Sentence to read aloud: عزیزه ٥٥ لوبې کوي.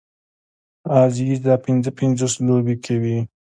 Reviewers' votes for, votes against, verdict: 0, 2, rejected